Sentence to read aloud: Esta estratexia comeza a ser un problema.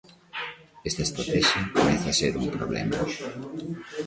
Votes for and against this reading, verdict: 0, 2, rejected